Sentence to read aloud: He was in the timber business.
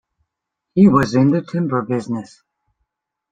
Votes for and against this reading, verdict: 2, 0, accepted